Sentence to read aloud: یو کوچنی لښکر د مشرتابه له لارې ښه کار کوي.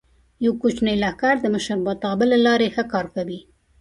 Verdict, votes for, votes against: rejected, 1, 2